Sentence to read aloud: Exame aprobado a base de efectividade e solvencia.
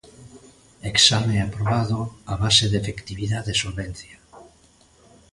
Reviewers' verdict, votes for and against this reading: accepted, 2, 0